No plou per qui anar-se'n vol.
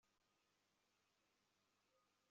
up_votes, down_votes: 0, 3